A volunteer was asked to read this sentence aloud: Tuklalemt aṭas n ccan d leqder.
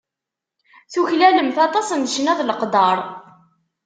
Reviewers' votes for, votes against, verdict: 0, 2, rejected